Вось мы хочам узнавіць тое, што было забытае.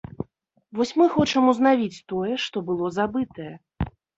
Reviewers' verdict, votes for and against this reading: accepted, 2, 0